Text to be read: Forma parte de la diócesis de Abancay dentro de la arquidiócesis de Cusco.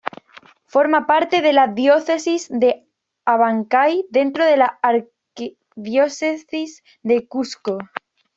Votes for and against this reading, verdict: 1, 2, rejected